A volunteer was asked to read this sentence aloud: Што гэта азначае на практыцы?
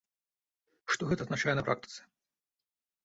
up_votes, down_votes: 0, 2